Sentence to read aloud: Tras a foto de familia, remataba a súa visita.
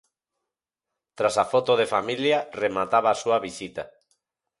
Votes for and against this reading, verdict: 4, 0, accepted